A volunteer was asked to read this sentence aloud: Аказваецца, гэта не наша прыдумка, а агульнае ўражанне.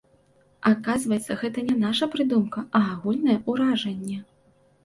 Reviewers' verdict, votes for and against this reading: accepted, 2, 0